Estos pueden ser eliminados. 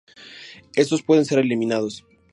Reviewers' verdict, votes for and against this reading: rejected, 0, 2